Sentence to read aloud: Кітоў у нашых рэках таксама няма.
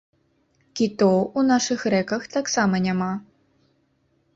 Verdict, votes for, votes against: accepted, 3, 0